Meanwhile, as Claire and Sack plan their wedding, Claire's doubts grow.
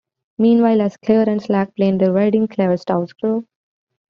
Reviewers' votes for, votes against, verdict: 0, 2, rejected